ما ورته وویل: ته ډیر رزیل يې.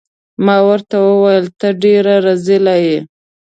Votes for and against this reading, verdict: 1, 2, rejected